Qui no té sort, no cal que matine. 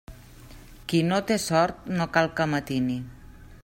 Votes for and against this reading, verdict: 1, 2, rejected